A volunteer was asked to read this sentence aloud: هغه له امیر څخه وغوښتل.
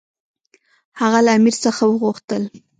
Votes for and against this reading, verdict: 1, 2, rejected